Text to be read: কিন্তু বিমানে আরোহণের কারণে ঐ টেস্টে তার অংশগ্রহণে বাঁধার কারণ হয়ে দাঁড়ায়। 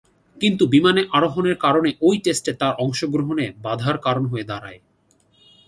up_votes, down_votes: 2, 0